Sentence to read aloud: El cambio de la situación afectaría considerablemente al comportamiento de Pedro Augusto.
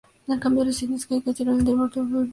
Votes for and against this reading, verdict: 0, 2, rejected